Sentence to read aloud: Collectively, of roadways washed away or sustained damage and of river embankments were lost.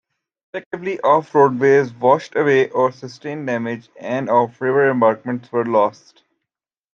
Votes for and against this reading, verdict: 1, 2, rejected